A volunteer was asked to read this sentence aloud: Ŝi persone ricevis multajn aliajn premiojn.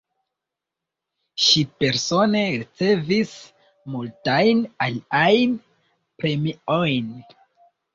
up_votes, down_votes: 2, 3